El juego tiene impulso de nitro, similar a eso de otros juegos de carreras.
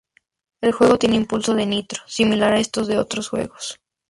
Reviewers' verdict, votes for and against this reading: accepted, 2, 0